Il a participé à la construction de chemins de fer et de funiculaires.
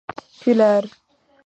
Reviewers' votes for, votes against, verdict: 1, 2, rejected